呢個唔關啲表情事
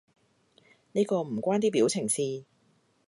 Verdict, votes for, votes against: accepted, 2, 0